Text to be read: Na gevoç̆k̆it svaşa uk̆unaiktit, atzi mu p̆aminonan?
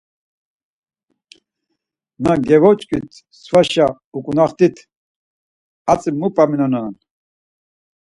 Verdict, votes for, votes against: rejected, 2, 4